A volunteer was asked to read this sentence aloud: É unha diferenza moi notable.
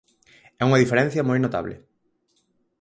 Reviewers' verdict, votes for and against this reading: rejected, 0, 4